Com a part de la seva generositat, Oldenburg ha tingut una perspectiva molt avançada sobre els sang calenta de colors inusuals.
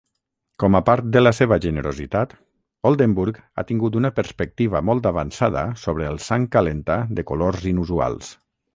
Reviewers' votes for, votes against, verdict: 6, 0, accepted